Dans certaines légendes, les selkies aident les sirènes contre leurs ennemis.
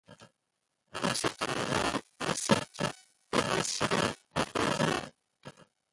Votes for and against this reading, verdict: 0, 2, rejected